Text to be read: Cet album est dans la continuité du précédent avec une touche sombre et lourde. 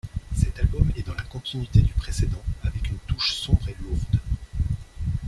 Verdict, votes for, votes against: rejected, 1, 2